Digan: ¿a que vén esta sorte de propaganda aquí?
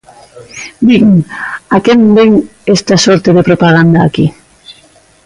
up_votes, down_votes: 0, 2